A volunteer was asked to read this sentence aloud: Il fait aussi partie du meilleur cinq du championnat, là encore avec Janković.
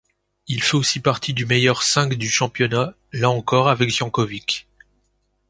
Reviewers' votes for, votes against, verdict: 2, 0, accepted